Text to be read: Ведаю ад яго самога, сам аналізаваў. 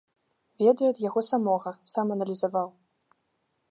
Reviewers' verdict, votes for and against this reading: accepted, 2, 0